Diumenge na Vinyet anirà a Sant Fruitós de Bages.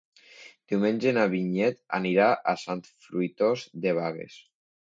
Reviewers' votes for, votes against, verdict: 0, 2, rejected